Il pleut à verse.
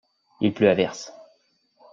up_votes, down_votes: 2, 0